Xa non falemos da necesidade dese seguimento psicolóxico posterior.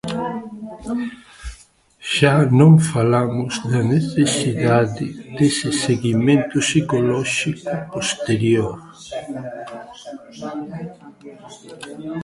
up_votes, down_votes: 0, 2